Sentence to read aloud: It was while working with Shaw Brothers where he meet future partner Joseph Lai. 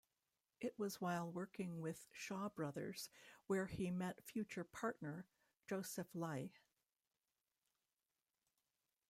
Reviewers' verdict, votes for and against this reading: rejected, 0, 2